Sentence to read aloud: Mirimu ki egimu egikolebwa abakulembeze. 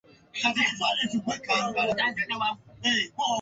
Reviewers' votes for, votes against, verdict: 0, 2, rejected